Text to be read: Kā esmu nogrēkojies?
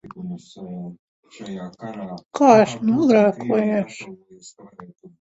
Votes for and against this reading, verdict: 0, 2, rejected